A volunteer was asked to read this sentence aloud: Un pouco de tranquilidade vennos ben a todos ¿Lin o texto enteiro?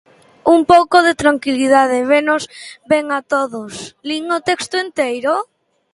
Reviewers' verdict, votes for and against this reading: rejected, 1, 2